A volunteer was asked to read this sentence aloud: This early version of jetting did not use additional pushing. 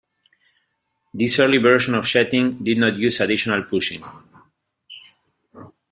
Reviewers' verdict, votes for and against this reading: accepted, 2, 0